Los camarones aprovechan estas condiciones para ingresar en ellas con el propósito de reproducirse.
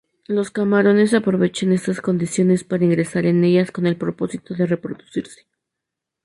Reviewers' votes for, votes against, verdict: 0, 2, rejected